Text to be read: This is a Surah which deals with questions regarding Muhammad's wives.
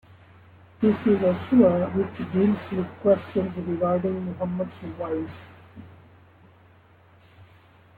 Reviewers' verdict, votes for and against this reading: rejected, 1, 2